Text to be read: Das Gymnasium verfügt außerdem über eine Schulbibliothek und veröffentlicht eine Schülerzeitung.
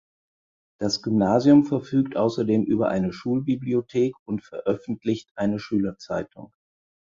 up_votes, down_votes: 4, 0